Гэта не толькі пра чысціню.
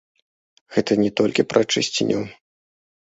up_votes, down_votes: 2, 3